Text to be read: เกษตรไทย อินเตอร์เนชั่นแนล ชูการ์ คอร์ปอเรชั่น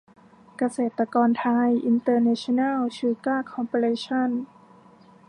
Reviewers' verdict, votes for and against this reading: rejected, 1, 2